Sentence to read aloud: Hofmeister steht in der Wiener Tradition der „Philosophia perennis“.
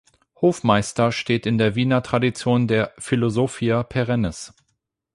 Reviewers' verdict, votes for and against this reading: accepted, 8, 0